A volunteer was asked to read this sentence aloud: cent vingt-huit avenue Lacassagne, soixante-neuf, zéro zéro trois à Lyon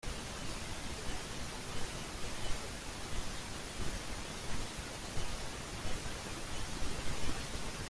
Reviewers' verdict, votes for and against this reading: rejected, 0, 2